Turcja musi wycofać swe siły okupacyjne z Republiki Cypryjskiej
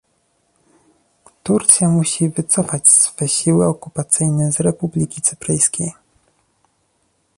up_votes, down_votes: 0, 2